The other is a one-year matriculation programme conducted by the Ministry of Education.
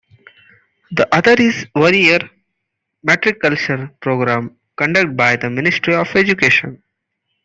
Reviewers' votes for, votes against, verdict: 0, 2, rejected